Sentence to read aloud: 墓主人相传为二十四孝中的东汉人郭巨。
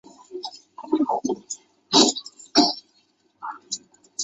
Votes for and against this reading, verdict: 0, 2, rejected